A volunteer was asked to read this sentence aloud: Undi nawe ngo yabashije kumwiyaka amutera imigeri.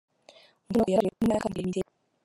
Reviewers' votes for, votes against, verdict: 0, 3, rejected